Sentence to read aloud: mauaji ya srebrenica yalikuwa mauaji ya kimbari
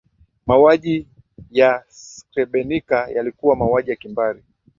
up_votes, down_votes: 5, 5